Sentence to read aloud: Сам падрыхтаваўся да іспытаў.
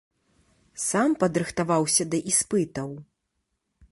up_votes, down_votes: 2, 0